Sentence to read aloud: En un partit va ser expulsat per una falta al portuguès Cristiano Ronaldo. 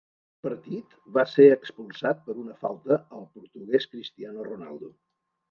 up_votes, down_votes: 0, 2